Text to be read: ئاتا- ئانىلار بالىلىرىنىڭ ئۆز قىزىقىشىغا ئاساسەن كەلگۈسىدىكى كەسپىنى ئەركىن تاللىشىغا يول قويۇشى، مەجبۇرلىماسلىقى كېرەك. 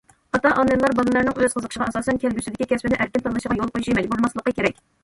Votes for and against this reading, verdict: 1, 2, rejected